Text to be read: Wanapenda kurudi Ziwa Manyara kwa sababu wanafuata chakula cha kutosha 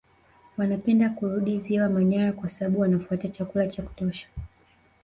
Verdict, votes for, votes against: accepted, 2, 1